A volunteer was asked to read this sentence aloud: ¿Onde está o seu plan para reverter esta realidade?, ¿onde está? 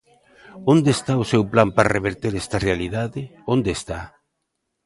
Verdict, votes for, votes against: accepted, 2, 0